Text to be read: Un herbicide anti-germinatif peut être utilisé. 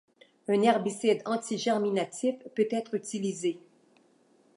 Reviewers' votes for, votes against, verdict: 2, 0, accepted